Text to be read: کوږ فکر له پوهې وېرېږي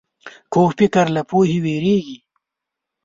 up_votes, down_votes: 1, 2